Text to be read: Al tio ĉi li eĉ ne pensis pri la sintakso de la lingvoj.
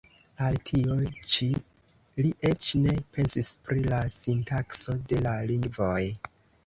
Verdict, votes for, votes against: rejected, 0, 2